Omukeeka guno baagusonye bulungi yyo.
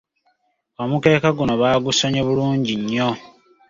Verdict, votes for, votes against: rejected, 1, 2